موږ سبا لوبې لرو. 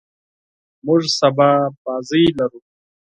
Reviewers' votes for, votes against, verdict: 2, 4, rejected